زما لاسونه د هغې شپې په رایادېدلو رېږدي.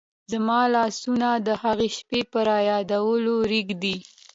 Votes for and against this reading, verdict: 2, 0, accepted